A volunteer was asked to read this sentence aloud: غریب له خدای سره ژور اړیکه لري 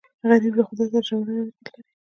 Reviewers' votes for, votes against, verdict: 0, 2, rejected